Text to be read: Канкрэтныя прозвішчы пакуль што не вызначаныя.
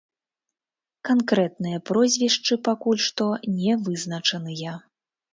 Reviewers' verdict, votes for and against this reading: rejected, 1, 2